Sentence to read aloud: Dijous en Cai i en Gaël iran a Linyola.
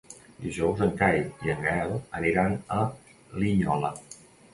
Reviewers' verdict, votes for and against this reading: rejected, 1, 2